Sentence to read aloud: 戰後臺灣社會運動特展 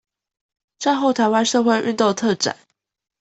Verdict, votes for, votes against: accepted, 2, 0